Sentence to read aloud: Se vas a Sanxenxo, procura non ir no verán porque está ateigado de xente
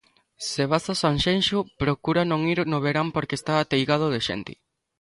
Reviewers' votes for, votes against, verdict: 2, 0, accepted